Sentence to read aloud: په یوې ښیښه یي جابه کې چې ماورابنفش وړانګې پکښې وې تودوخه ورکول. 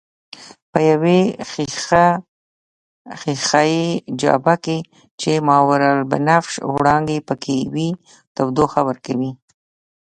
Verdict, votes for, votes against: rejected, 1, 2